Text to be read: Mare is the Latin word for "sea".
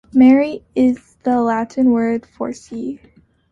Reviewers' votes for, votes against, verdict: 0, 2, rejected